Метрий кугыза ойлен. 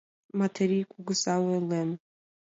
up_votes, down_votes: 2, 0